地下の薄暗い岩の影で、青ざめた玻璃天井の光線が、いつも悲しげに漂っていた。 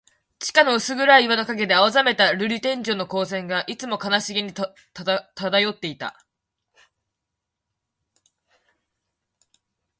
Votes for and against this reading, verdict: 0, 2, rejected